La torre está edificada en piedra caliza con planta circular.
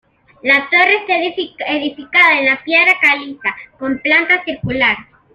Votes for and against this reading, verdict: 0, 2, rejected